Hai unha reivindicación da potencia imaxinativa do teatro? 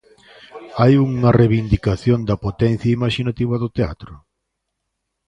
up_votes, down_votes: 2, 0